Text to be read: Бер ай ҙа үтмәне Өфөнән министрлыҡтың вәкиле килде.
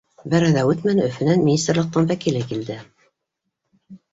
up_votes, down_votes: 2, 1